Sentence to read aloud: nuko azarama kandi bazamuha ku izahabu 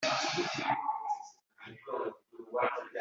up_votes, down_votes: 1, 2